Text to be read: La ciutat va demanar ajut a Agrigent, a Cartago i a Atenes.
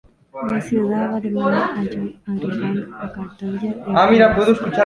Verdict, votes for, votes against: rejected, 0, 2